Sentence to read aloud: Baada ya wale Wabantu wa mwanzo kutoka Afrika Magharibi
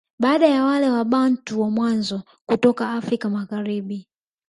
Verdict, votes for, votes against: rejected, 0, 2